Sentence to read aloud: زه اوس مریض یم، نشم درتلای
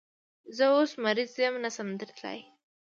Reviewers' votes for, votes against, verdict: 0, 2, rejected